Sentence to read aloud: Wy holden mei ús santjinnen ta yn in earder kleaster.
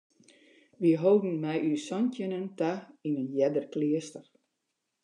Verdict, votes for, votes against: accepted, 2, 0